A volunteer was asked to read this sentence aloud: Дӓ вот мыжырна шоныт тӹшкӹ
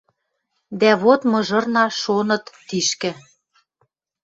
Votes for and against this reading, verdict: 0, 2, rejected